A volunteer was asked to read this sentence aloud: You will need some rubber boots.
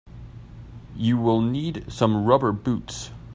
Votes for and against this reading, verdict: 2, 0, accepted